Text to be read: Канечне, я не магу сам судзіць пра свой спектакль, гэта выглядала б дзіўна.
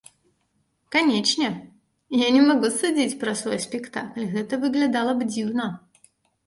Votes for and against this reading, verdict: 0, 2, rejected